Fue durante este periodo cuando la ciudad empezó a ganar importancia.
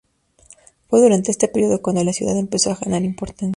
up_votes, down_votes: 2, 0